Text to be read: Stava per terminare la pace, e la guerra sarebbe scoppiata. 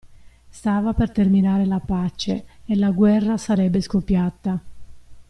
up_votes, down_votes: 2, 0